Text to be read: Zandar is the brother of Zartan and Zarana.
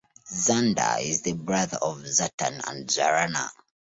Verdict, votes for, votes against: accepted, 2, 0